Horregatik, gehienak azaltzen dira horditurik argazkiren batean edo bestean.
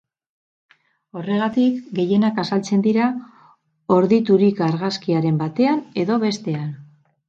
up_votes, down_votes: 0, 4